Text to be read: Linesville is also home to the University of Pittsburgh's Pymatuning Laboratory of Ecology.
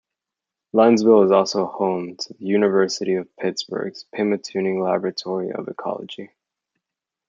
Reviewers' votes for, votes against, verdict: 2, 0, accepted